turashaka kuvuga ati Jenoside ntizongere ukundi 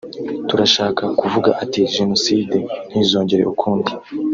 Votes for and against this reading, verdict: 1, 2, rejected